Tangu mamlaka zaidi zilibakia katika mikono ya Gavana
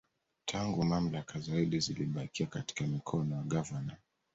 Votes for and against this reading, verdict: 0, 2, rejected